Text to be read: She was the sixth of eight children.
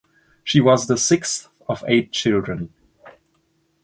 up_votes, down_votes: 2, 0